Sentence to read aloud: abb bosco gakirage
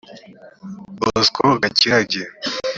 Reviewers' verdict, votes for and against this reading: rejected, 1, 2